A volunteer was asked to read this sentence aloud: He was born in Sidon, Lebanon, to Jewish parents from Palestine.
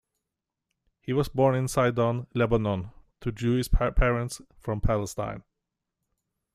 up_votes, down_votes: 1, 2